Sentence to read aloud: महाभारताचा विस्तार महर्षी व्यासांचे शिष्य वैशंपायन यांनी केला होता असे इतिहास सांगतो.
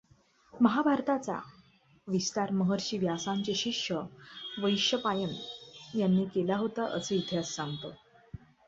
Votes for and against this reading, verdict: 0, 2, rejected